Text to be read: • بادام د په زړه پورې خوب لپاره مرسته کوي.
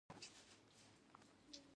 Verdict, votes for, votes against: rejected, 0, 2